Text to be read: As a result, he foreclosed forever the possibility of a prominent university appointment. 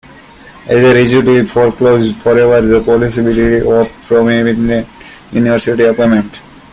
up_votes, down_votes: 0, 2